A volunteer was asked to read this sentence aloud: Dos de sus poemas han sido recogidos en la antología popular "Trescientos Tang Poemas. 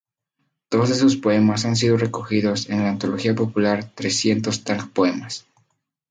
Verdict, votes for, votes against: accepted, 2, 0